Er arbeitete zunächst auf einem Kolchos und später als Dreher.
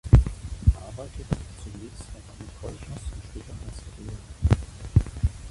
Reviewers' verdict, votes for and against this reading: rejected, 1, 2